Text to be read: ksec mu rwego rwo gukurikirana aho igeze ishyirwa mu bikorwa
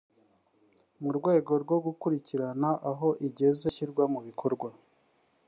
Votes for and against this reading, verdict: 1, 2, rejected